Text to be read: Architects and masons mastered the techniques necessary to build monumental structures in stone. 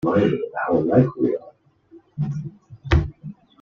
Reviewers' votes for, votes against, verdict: 0, 2, rejected